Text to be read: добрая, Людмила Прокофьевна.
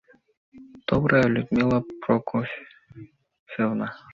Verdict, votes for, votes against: rejected, 0, 2